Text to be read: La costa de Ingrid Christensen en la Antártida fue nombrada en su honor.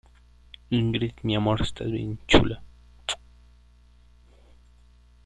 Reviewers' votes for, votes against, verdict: 0, 2, rejected